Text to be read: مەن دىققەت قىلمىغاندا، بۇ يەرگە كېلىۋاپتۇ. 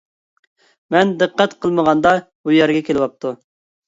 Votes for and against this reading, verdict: 2, 0, accepted